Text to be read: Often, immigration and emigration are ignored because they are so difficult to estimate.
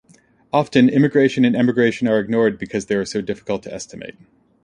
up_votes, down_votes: 2, 0